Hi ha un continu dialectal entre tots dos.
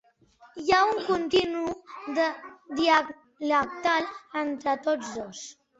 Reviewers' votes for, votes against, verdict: 0, 2, rejected